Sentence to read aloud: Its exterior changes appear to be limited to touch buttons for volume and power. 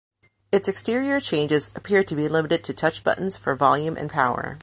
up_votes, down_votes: 2, 0